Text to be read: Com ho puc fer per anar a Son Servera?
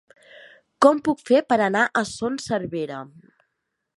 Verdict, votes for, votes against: rejected, 1, 2